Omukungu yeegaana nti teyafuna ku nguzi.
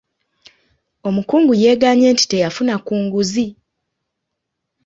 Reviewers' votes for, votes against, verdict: 0, 2, rejected